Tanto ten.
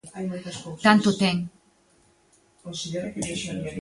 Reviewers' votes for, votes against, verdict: 0, 2, rejected